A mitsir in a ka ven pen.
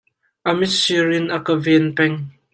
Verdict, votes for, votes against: rejected, 1, 2